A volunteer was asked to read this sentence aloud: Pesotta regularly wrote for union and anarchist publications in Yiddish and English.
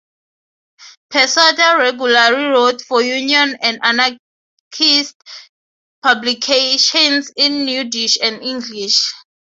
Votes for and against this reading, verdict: 3, 0, accepted